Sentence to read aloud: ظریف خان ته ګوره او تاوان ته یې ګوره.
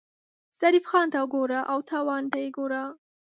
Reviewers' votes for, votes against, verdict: 2, 0, accepted